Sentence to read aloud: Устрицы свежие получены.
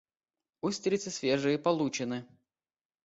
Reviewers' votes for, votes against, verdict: 2, 0, accepted